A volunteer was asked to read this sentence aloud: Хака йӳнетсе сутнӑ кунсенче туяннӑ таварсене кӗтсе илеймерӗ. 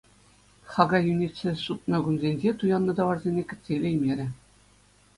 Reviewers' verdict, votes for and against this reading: accepted, 2, 0